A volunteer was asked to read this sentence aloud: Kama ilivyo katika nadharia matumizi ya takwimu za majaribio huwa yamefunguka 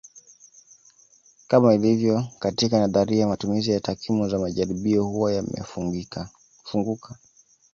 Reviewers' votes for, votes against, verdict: 2, 0, accepted